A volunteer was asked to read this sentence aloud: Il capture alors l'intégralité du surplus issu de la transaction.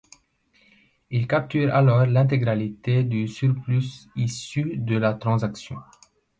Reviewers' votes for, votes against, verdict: 1, 2, rejected